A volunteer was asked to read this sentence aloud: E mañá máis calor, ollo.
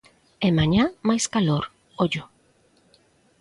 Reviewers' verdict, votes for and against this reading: accepted, 2, 0